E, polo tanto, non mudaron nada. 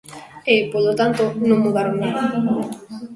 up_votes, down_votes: 1, 2